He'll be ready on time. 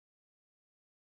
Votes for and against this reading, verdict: 0, 2, rejected